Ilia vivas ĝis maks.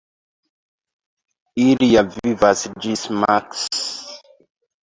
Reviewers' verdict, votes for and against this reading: accepted, 2, 0